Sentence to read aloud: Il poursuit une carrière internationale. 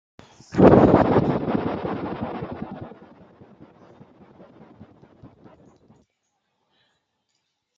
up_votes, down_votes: 0, 2